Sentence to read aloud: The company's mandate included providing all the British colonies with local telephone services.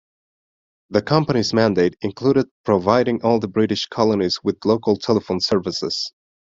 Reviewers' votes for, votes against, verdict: 2, 0, accepted